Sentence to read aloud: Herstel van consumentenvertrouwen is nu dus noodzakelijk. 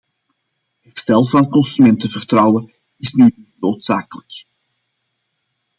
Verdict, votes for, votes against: rejected, 0, 2